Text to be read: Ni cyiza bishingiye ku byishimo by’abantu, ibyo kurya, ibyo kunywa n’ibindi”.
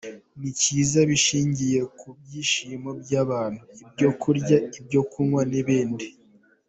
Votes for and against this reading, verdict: 3, 1, accepted